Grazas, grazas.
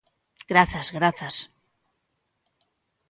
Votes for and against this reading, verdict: 2, 0, accepted